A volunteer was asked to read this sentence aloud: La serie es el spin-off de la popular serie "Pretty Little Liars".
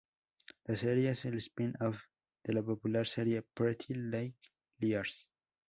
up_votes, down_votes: 0, 2